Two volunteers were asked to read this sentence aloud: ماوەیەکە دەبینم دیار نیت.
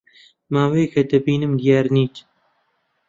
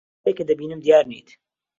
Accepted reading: first